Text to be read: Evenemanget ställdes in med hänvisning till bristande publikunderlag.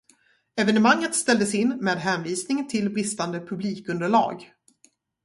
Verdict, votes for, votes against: rejected, 0, 2